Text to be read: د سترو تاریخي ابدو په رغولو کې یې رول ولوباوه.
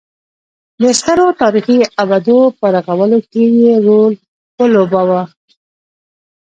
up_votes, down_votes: 2, 0